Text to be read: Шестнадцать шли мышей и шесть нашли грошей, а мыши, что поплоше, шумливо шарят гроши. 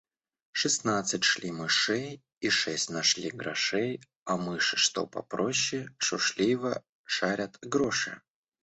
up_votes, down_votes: 1, 2